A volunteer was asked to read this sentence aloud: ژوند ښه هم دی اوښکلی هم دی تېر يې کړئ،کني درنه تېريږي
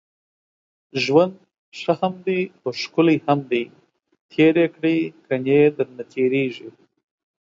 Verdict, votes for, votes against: accepted, 2, 0